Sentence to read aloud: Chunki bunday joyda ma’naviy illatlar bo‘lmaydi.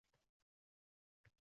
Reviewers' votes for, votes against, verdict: 0, 2, rejected